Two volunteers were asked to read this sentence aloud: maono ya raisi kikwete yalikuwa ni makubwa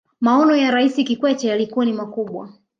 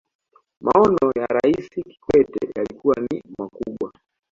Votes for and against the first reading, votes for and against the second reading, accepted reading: 2, 0, 1, 2, first